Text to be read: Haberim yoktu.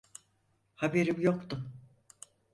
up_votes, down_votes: 4, 0